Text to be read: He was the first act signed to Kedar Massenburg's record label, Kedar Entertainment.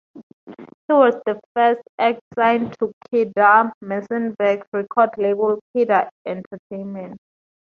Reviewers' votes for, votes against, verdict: 2, 0, accepted